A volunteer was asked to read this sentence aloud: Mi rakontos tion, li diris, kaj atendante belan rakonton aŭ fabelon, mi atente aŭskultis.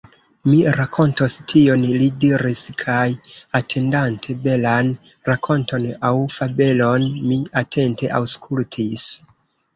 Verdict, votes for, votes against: rejected, 1, 2